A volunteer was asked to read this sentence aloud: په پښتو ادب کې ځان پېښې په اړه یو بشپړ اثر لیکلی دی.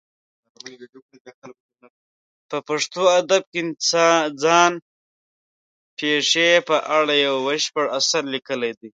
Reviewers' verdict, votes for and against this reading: rejected, 1, 2